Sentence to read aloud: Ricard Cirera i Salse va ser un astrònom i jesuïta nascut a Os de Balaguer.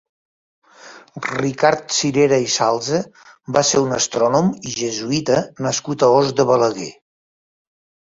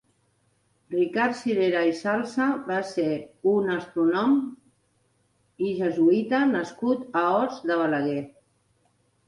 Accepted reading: first